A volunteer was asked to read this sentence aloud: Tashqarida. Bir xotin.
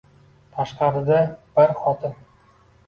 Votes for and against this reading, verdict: 2, 0, accepted